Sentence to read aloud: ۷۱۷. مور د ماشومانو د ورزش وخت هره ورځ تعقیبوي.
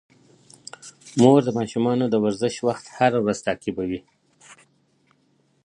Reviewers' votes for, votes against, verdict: 0, 2, rejected